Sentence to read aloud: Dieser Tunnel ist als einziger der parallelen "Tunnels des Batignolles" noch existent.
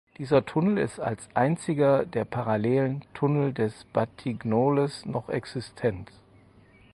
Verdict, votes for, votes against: rejected, 2, 4